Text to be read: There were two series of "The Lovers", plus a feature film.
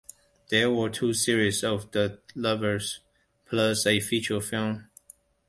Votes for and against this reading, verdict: 2, 1, accepted